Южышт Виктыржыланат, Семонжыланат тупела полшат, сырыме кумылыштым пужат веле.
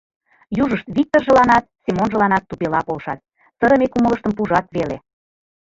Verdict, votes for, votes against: rejected, 1, 3